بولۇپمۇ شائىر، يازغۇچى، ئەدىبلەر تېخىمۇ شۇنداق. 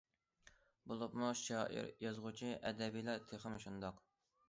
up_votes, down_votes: 0, 2